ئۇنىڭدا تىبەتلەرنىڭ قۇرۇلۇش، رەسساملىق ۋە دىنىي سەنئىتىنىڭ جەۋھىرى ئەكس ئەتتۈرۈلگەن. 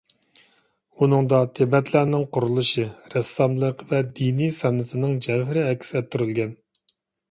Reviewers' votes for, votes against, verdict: 0, 2, rejected